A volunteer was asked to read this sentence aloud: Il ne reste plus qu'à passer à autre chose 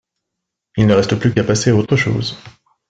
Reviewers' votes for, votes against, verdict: 5, 0, accepted